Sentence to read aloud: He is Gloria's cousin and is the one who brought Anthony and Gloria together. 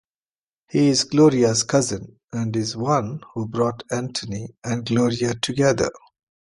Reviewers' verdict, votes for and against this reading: accepted, 2, 0